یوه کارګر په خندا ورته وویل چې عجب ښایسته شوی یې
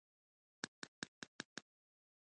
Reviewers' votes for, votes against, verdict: 2, 1, accepted